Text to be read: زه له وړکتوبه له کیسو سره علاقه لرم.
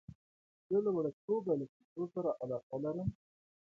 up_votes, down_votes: 2, 0